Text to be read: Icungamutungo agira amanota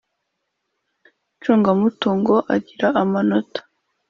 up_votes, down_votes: 2, 0